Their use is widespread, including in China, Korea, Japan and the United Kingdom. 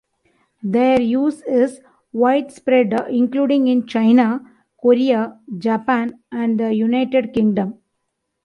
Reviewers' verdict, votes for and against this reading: accepted, 2, 1